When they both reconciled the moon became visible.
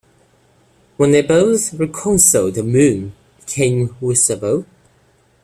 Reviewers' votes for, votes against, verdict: 0, 2, rejected